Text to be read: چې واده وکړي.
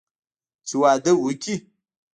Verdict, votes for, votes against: accepted, 2, 0